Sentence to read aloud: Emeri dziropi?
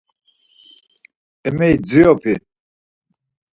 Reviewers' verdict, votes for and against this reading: accepted, 4, 0